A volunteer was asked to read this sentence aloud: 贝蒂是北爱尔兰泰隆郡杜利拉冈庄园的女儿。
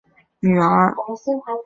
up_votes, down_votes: 0, 3